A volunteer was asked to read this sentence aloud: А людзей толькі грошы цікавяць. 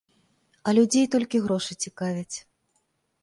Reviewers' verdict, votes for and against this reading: accepted, 2, 0